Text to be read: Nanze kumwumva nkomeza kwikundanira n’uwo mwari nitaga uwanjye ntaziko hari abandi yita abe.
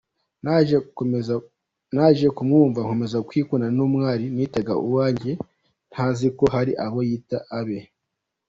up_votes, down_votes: 1, 2